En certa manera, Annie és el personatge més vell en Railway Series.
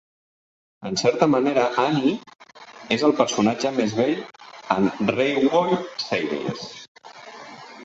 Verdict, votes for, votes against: rejected, 0, 2